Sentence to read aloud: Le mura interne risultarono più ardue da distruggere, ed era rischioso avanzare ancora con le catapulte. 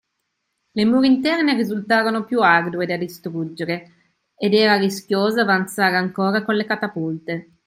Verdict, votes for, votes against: accepted, 2, 0